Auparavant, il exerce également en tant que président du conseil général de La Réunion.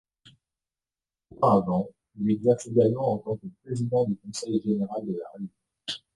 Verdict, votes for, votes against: rejected, 0, 2